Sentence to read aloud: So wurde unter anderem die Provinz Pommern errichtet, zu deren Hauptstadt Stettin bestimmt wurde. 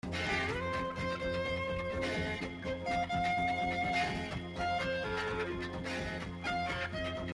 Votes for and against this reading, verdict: 0, 2, rejected